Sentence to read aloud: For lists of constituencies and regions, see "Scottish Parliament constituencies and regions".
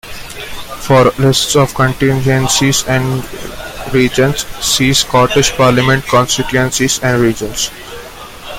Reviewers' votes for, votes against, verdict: 0, 2, rejected